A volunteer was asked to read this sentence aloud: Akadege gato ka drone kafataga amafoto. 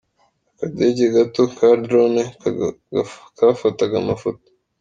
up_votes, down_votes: 0, 2